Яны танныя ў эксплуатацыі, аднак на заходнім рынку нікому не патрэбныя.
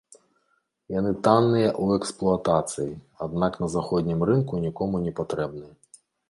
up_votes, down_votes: 1, 2